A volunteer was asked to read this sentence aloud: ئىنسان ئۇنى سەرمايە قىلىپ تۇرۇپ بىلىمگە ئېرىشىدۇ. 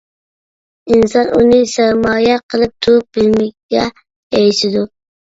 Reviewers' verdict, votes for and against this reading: rejected, 0, 2